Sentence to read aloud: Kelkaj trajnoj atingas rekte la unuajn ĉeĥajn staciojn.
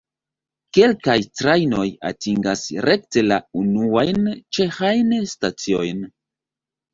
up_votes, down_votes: 2, 0